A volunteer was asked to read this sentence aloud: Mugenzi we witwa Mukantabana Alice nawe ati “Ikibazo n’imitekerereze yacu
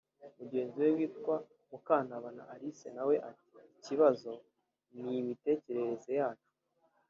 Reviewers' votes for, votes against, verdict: 3, 0, accepted